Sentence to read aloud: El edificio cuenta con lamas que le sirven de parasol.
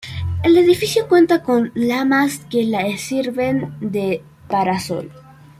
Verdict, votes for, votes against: rejected, 1, 2